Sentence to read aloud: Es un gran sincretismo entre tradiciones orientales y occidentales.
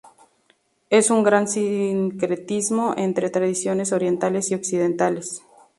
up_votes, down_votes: 0, 4